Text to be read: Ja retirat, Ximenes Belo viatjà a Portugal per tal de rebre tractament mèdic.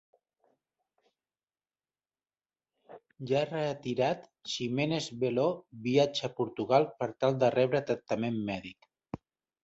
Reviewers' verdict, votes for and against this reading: rejected, 0, 2